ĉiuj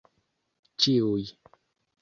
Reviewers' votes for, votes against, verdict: 2, 0, accepted